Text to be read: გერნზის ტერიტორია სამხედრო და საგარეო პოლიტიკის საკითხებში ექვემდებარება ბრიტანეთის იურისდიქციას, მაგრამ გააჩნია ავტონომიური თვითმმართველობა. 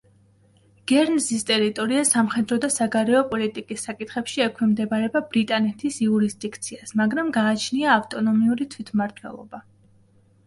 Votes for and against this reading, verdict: 2, 0, accepted